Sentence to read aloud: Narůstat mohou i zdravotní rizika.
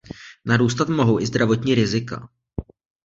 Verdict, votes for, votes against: accepted, 2, 0